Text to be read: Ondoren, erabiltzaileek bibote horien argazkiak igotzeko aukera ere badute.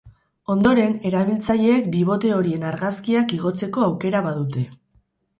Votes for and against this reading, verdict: 0, 2, rejected